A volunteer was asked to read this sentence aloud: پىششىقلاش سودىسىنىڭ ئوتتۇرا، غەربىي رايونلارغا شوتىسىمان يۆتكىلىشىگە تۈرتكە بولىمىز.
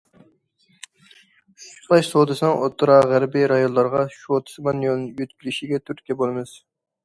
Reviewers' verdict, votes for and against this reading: rejected, 0, 2